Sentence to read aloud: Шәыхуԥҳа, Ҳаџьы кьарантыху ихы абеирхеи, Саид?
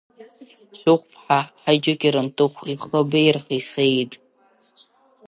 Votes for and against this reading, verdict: 1, 2, rejected